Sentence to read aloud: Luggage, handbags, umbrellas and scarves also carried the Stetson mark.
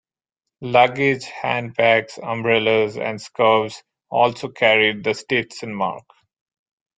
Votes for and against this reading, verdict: 2, 0, accepted